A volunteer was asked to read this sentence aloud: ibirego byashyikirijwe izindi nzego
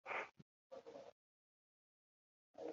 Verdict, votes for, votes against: accepted, 2, 0